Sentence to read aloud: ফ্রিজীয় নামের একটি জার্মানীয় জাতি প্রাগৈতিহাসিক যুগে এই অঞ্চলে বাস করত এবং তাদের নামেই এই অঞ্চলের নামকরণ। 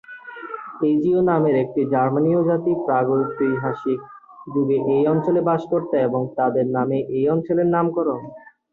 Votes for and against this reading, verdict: 2, 0, accepted